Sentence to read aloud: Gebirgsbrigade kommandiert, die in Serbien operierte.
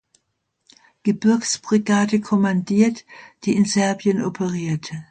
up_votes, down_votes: 2, 0